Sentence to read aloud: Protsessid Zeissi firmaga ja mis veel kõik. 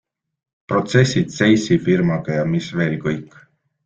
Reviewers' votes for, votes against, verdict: 2, 0, accepted